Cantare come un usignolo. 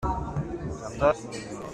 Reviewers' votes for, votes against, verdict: 0, 2, rejected